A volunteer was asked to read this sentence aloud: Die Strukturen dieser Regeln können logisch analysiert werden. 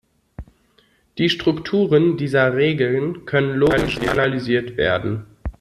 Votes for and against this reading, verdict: 0, 2, rejected